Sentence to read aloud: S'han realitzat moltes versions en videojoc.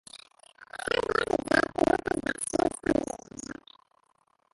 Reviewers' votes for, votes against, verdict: 0, 2, rejected